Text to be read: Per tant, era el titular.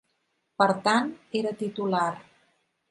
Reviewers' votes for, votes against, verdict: 1, 2, rejected